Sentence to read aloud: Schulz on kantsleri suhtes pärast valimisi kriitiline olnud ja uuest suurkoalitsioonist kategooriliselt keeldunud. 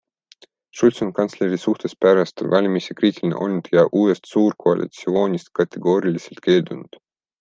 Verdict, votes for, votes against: accepted, 2, 0